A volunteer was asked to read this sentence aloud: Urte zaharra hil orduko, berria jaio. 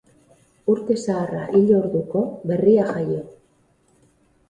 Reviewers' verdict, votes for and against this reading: accepted, 8, 0